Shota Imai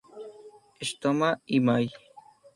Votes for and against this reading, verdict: 0, 2, rejected